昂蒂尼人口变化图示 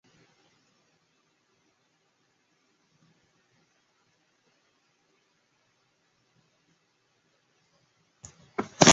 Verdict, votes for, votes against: rejected, 0, 3